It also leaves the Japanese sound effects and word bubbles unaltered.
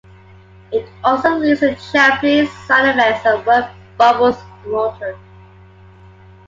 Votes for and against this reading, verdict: 2, 0, accepted